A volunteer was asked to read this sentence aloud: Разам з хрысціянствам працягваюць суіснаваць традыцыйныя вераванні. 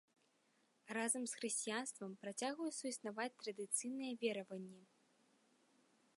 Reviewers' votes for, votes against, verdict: 2, 0, accepted